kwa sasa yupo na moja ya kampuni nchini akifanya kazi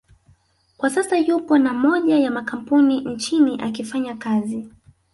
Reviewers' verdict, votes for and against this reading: accepted, 3, 0